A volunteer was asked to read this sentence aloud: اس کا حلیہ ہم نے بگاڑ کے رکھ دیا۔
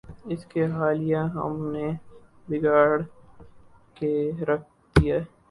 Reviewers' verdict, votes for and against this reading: rejected, 6, 8